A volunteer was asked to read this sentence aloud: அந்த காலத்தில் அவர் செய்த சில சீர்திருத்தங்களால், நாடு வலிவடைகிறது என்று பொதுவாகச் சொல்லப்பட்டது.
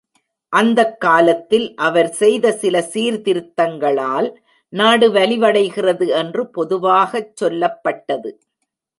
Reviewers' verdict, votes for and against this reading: rejected, 1, 2